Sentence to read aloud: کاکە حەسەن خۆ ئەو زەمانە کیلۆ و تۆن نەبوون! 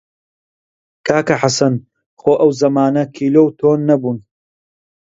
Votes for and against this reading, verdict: 2, 0, accepted